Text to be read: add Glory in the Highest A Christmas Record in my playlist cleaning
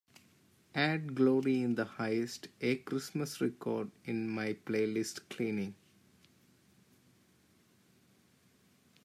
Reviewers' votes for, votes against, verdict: 2, 0, accepted